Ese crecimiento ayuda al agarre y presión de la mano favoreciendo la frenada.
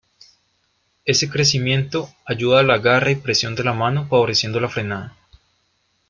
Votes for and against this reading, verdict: 1, 2, rejected